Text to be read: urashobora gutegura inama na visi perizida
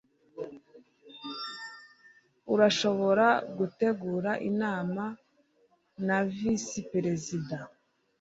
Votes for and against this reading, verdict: 2, 0, accepted